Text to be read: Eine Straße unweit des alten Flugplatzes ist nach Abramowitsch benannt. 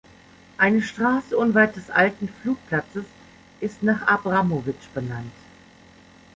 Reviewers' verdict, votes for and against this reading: accepted, 2, 0